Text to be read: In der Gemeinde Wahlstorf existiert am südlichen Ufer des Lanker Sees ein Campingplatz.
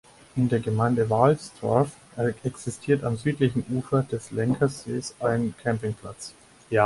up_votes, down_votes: 0, 4